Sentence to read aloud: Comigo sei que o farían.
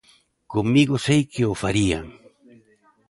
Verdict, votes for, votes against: accepted, 2, 0